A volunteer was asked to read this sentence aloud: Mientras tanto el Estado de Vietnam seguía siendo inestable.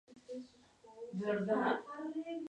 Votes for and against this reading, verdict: 0, 2, rejected